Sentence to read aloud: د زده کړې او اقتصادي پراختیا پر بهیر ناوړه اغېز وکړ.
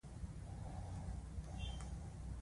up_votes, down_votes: 0, 2